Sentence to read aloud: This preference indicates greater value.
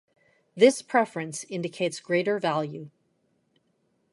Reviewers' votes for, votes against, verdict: 2, 0, accepted